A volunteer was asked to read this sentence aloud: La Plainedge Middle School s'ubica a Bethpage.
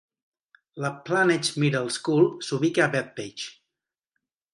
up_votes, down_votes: 2, 0